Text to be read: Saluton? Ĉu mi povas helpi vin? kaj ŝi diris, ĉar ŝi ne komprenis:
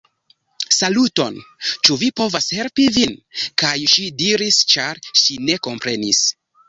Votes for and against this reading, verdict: 1, 2, rejected